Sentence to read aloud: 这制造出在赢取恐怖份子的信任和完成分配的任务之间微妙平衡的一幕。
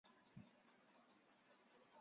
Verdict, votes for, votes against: rejected, 0, 3